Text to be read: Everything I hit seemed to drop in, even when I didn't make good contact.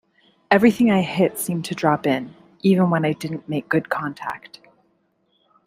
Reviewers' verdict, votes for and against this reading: accepted, 2, 0